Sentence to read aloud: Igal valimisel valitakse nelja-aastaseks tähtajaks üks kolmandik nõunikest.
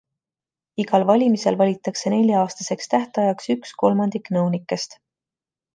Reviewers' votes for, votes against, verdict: 2, 0, accepted